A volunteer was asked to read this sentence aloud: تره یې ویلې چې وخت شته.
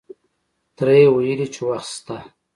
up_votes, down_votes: 2, 0